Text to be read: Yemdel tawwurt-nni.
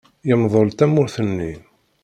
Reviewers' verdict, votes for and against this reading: rejected, 1, 2